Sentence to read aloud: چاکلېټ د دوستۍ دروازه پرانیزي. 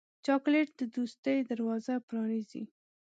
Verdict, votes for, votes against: accepted, 2, 0